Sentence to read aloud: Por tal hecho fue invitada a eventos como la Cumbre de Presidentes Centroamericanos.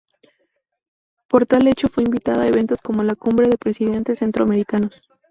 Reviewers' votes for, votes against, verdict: 2, 0, accepted